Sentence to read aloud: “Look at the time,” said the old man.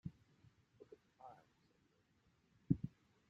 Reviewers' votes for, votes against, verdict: 0, 2, rejected